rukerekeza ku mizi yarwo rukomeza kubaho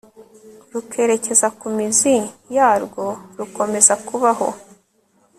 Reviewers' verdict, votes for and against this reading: accepted, 3, 0